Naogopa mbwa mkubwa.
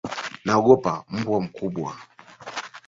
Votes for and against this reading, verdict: 1, 2, rejected